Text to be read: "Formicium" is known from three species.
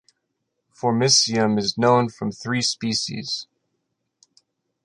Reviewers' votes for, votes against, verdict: 2, 0, accepted